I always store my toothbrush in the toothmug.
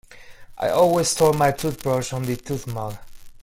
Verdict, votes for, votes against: rejected, 1, 2